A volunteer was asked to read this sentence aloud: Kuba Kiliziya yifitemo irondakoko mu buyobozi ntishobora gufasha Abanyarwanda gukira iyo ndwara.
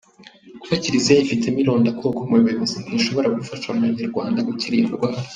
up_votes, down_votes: 3, 2